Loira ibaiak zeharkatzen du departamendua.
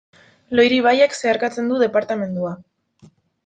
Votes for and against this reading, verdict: 0, 2, rejected